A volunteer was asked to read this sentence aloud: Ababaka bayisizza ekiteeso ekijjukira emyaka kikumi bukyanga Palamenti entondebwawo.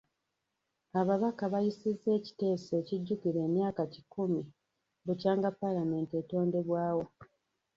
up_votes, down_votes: 0, 2